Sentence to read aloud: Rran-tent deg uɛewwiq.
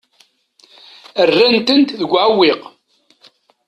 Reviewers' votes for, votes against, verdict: 2, 0, accepted